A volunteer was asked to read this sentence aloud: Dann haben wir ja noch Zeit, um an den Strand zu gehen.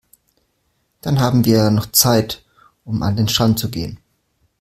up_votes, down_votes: 2, 0